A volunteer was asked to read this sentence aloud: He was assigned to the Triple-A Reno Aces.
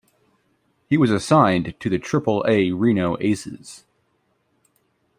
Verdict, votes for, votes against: accepted, 2, 0